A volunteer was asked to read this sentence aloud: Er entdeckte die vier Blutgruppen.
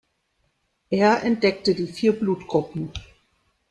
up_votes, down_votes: 0, 2